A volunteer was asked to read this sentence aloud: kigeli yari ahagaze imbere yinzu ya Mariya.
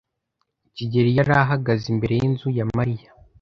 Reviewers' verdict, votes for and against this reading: accepted, 2, 0